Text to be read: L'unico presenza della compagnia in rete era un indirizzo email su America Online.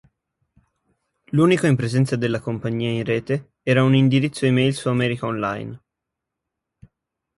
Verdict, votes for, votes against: rejected, 1, 3